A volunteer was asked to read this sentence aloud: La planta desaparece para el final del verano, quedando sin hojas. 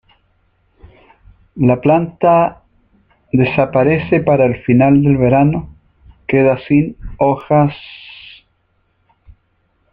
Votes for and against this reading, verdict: 0, 2, rejected